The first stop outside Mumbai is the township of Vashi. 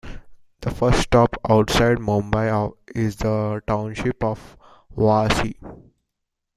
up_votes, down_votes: 2, 1